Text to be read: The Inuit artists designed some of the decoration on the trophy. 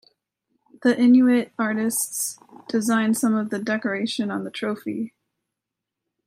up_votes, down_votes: 2, 0